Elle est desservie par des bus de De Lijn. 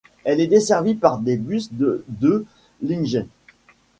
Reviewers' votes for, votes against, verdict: 1, 2, rejected